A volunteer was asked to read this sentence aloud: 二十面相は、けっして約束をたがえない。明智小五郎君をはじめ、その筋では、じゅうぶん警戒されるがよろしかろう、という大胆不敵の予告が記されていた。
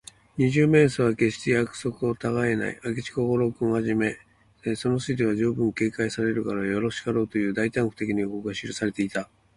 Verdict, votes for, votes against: accepted, 2, 0